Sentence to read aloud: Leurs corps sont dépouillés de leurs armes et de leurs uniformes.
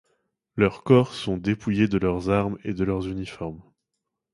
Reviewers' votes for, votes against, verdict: 2, 0, accepted